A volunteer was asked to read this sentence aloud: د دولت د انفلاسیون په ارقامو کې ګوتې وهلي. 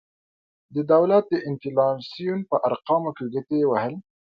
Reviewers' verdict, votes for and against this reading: accepted, 2, 0